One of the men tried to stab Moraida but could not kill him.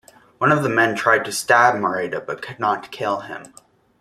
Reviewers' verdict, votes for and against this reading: rejected, 1, 2